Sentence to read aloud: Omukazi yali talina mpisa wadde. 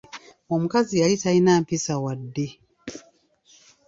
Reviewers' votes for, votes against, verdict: 3, 0, accepted